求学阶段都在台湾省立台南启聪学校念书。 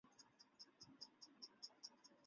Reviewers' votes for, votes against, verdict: 0, 2, rejected